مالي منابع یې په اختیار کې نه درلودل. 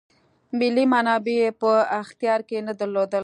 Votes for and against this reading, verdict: 0, 2, rejected